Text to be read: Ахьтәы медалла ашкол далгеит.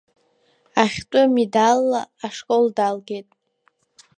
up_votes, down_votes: 1, 2